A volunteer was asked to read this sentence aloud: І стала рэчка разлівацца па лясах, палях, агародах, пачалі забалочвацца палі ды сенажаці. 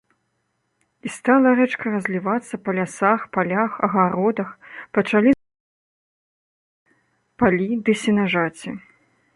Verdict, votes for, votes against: rejected, 0, 2